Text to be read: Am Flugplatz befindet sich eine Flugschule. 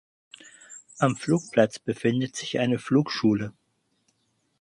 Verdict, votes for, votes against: accepted, 4, 0